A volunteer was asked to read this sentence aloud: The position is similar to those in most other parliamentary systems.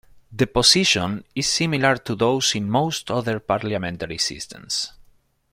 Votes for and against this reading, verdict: 0, 2, rejected